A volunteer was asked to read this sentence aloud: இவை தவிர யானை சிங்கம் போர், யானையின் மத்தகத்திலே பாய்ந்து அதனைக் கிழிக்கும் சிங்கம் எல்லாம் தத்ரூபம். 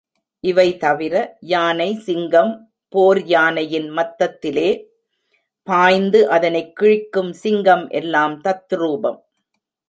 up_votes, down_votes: 1, 2